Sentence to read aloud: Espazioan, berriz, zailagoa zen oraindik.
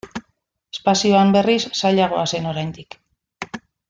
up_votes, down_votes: 0, 2